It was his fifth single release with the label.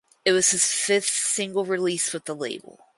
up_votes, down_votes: 4, 0